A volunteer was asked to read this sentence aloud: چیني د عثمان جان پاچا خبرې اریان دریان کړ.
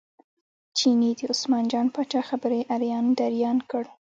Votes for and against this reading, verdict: 1, 2, rejected